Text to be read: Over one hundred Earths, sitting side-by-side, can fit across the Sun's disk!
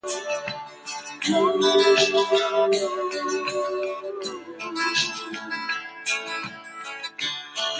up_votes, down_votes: 0, 2